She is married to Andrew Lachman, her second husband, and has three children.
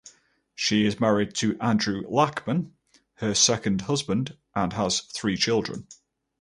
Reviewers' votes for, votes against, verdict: 4, 0, accepted